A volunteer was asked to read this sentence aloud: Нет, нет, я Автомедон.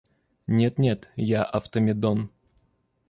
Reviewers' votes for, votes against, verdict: 2, 0, accepted